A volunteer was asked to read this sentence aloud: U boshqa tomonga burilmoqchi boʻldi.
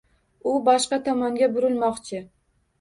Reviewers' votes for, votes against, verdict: 1, 2, rejected